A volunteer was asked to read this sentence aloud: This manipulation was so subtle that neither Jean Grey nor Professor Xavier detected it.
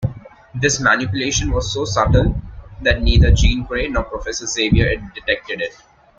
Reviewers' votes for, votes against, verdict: 2, 1, accepted